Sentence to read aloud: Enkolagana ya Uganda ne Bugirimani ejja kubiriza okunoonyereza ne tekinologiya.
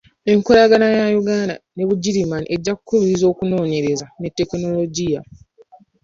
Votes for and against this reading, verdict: 2, 0, accepted